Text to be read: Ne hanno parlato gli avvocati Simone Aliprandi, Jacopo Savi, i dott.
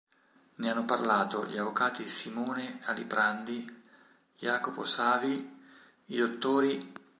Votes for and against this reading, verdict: 0, 2, rejected